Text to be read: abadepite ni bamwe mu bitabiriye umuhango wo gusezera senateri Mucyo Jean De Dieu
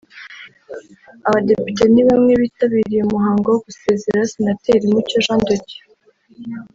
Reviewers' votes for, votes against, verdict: 3, 0, accepted